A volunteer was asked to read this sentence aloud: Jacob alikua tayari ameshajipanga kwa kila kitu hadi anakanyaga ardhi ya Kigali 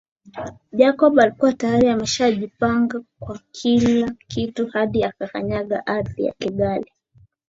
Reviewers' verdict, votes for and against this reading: accepted, 2, 0